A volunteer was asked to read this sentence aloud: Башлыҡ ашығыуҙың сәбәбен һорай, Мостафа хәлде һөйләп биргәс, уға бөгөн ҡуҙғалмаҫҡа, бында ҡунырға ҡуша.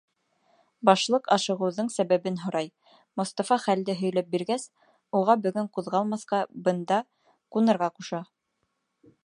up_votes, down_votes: 2, 0